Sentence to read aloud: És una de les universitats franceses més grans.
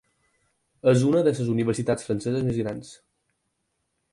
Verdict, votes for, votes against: accepted, 4, 0